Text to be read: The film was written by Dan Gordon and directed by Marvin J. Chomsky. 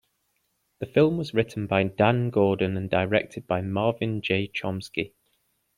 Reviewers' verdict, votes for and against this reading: accepted, 2, 0